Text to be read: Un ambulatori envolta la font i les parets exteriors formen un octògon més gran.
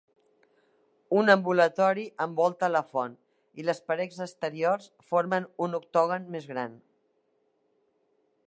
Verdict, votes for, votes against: rejected, 1, 2